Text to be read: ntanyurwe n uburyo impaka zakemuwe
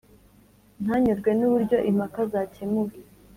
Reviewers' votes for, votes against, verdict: 2, 0, accepted